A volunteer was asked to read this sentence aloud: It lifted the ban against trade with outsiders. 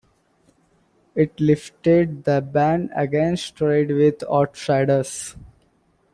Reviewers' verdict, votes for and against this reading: accepted, 2, 1